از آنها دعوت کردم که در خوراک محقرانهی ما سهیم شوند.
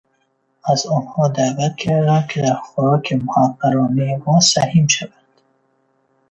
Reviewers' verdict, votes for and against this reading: rejected, 1, 2